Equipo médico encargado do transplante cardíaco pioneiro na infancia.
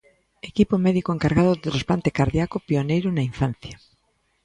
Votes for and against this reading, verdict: 1, 2, rejected